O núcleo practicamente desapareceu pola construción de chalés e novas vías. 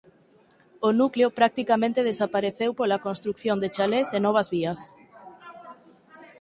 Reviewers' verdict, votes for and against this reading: accepted, 4, 0